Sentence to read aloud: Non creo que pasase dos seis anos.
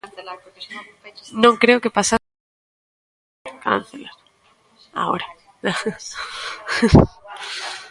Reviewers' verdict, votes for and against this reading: rejected, 0, 2